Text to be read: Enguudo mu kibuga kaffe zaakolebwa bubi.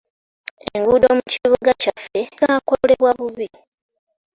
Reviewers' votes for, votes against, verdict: 0, 2, rejected